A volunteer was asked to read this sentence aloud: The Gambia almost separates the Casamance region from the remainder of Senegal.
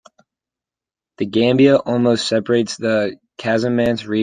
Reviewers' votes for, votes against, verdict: 0, 3, rejected